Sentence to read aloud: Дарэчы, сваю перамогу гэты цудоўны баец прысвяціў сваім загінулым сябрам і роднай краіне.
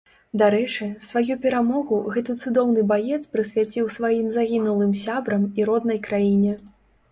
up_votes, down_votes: 2, 0